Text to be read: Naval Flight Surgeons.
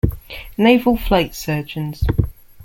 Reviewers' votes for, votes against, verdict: 2, 0, accepted